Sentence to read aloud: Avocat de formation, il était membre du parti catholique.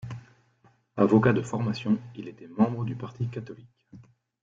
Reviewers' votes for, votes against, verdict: 1, 2, rejected